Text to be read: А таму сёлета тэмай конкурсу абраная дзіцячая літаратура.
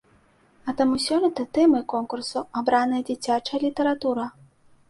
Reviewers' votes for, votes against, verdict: 2, 0, accepted